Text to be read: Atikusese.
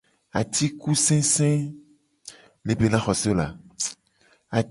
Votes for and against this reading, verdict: 1, 2, rejected